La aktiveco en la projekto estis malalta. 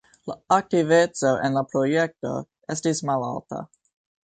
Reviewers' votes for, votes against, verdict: 1, 2, rejected